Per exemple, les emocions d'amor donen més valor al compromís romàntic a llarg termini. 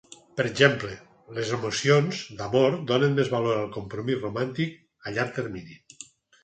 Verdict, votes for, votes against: accepted, 4, 0